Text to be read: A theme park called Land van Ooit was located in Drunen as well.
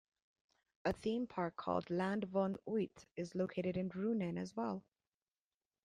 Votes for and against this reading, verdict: 1, 2, rejected